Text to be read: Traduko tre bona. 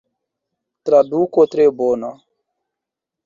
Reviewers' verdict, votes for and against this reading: accepted, 2, 0